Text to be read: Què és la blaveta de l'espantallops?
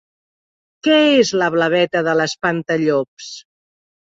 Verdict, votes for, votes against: accepted, 2, 0